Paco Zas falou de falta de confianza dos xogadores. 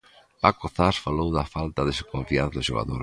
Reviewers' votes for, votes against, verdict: 0, 2, rejected